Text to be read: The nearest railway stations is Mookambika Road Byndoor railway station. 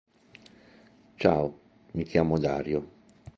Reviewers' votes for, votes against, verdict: 0, 2, rejected